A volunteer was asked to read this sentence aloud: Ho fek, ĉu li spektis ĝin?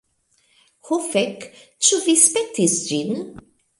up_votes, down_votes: 1, 2